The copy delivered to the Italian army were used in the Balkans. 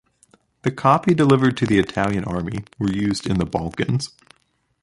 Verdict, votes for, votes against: accepted, 2, 0